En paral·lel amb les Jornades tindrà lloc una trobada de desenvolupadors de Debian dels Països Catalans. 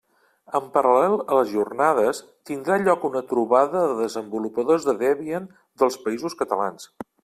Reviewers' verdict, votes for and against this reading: rejected, 0, 2